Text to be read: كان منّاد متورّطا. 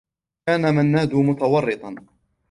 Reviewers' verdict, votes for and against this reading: accepted, 2, 1